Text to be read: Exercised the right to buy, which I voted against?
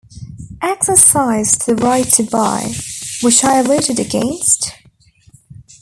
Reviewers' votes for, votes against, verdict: 0, 2, rejected